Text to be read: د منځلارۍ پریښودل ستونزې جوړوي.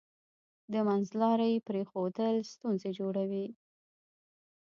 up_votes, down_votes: 1, 2